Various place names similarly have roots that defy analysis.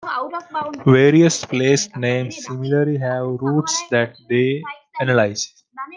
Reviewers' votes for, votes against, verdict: 0, 2, rejected